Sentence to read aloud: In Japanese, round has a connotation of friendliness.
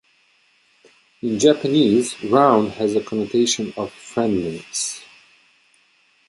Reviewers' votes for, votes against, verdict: 2, 0, accepted